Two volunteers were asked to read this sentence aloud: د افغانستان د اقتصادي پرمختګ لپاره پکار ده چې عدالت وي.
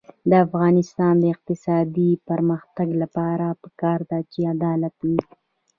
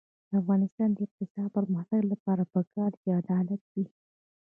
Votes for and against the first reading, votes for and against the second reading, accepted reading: 2, 0, 1, 2, first